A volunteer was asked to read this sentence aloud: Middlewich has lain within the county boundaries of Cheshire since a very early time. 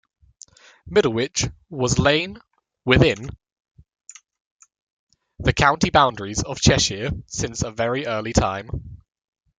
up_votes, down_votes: 0, 2